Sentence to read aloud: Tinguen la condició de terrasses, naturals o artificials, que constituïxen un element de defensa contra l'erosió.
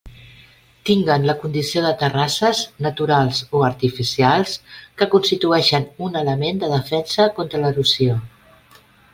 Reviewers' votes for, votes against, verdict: 2, 1, accepted